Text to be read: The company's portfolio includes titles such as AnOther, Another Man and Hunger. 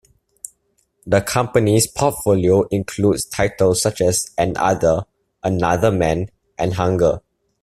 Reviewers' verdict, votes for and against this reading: accepted, 2, 0